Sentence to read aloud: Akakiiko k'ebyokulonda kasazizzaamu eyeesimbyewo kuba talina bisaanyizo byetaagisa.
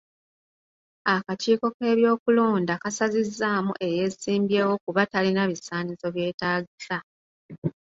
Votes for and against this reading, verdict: 2, 0, accepted